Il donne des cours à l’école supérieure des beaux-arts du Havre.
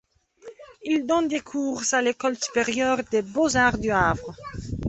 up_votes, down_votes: 1, 2